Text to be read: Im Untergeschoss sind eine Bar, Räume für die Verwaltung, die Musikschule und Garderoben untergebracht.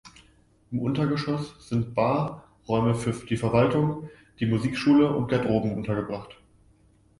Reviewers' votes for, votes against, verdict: 1, 2, rejected